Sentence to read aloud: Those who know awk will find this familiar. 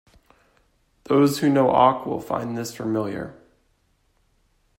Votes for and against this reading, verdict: 2, 0, accepted